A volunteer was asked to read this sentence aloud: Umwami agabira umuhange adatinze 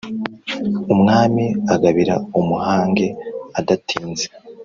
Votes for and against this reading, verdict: 2, 0, accepted